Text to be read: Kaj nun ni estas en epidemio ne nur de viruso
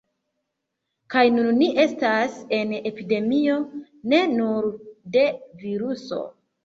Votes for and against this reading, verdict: 2, 0, accepted